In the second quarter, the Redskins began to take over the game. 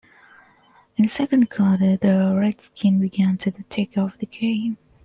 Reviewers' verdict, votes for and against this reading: accepted, 2, 0